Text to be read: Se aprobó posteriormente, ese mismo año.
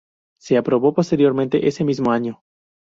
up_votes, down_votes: 2, 0